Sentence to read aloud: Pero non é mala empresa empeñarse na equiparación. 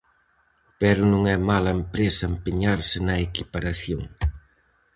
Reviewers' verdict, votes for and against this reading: accepted, 4, 0